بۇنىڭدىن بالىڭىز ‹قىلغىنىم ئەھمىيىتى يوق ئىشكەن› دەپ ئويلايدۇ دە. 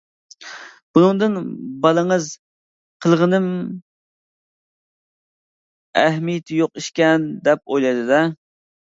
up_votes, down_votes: 1, 2